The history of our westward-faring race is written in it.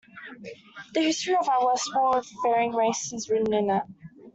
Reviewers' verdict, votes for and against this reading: rejected, 1, 2